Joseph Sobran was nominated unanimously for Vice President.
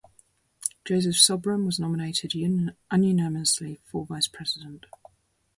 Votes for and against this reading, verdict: 0, 2, rejected